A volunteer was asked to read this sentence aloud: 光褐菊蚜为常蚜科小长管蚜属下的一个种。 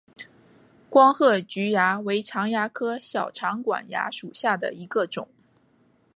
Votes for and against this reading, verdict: 2, 0, accepted